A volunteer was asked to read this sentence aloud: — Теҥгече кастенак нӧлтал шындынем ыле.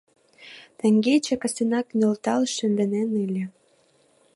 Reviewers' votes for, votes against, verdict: 1, 2, rejected